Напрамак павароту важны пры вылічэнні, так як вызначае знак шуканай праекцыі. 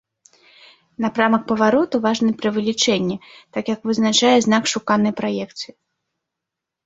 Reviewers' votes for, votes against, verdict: 2, 0, accepted